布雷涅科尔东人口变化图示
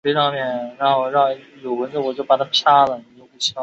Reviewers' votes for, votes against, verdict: 1, 2, rejected